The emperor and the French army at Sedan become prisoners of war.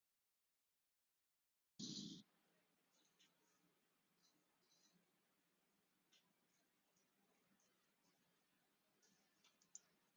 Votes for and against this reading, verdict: 0, 2, rejected